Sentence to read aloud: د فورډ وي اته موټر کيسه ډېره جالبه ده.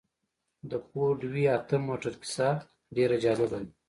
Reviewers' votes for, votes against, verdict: 2, 1, accepted